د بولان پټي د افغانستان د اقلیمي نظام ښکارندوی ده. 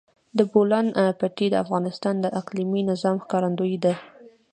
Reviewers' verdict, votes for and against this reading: accepted, 2, 0